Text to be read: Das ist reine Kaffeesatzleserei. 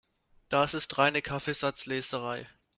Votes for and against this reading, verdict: 2, 0, accepted